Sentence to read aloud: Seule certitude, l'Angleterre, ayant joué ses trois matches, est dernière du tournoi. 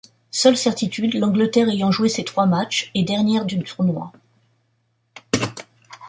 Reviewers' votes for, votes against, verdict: 1, 2, rejected